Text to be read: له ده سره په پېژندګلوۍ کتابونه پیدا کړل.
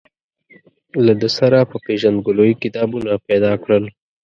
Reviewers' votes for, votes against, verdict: 2, 0, accepted